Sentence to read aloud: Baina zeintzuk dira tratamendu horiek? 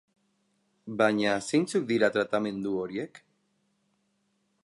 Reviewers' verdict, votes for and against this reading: accepted, 10, 0